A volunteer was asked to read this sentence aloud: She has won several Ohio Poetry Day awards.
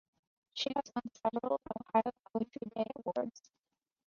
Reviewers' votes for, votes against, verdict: 0, 2, rejected